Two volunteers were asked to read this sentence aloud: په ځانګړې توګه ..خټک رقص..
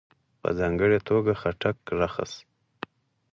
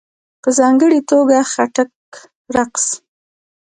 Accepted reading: first